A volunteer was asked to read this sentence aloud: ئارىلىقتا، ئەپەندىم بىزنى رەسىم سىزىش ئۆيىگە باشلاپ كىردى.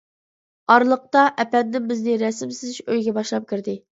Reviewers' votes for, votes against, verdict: 2, 0, accepted